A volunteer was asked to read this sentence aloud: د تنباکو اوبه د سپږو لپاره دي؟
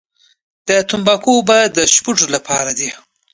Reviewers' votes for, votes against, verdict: 2, 0, accepted